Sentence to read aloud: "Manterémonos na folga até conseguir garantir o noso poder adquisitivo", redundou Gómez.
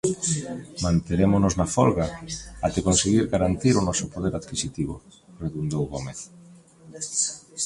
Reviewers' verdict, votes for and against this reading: accepted, 2, 1